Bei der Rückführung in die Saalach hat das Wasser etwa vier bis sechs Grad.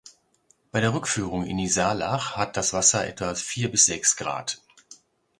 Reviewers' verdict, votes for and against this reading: accepted, 2, 0